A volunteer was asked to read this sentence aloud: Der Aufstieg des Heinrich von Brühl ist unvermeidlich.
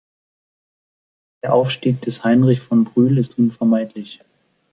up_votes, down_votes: 3, 0